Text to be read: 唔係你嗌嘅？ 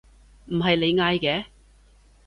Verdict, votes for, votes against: accepted, 2, 0